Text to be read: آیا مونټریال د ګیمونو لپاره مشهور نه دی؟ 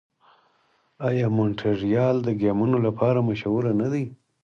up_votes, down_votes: 4, 0